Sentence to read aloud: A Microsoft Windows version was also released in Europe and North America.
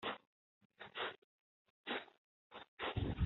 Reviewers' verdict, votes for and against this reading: rejected, 0, 2